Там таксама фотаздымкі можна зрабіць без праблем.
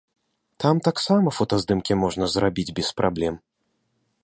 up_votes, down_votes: 2, 0